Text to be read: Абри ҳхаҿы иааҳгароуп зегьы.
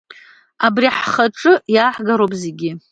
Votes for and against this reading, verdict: 1, 2, rejected